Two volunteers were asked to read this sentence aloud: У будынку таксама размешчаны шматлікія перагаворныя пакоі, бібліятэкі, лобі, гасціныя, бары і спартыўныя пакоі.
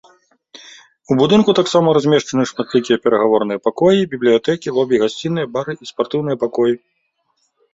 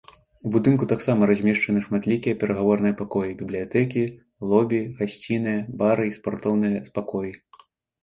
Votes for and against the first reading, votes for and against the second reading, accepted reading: 2, 0, 1, 2, first